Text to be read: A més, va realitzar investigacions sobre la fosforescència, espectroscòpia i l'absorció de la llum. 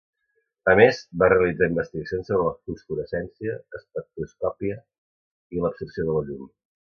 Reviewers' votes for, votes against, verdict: 2, 0, accepted